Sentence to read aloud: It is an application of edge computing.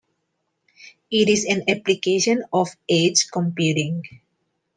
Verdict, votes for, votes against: accepted, 2, 0